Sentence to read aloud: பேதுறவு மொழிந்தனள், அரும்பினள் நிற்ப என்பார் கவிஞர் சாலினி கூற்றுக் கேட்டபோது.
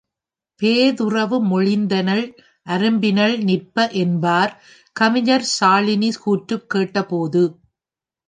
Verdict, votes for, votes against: accepted, 2, 1